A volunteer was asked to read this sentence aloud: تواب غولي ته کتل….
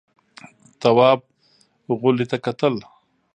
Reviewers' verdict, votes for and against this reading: rejected, 1, 2